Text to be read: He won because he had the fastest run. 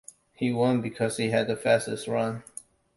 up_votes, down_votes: 2, 1